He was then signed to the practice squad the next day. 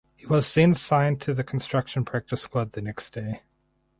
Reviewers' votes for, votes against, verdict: 0, 4, rejected